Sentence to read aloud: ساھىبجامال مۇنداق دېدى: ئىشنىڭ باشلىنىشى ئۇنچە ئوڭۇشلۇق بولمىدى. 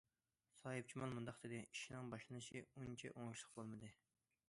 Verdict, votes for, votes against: accepted, 2, 0